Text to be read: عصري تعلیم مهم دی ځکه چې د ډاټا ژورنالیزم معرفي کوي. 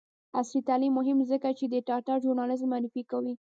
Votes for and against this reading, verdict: 1, 2, rejected